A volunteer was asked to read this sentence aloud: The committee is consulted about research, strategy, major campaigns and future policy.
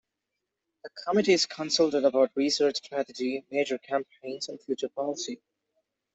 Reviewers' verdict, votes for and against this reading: accepted, 2, 0